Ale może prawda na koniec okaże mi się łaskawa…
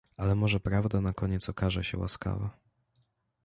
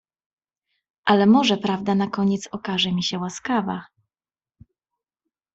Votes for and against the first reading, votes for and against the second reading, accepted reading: 1, 2, 2, 0, second